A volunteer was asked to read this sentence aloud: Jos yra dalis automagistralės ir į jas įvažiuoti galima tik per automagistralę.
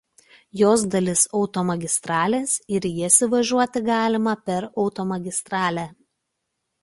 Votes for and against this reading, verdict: 0, 2, rejected